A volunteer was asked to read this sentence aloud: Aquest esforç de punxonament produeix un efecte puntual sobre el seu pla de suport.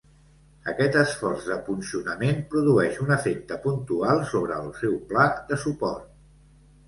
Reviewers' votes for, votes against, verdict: 2, 0, accepted